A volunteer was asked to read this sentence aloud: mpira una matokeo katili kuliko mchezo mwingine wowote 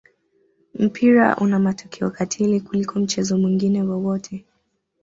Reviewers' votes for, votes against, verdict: 2, 1, accepted